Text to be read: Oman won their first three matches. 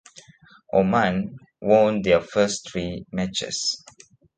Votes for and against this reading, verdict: 2, 0, accepted